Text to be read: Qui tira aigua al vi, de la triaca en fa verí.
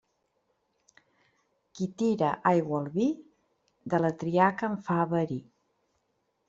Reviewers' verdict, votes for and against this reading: accepted, 2, 0